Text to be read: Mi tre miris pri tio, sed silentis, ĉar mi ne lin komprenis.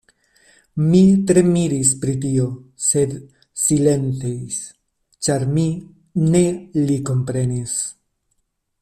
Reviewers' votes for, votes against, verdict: 0, 2, rejected